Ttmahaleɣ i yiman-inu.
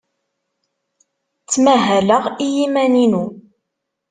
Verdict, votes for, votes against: accepted, 2, 0